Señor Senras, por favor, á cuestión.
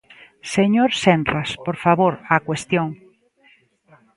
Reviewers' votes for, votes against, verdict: 2, 0, accepted